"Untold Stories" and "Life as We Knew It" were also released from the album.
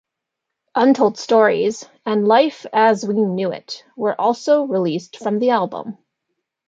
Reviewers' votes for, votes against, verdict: 2, 0, accepted